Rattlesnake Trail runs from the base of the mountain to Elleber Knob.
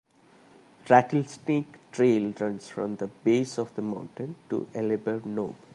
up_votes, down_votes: 0, 2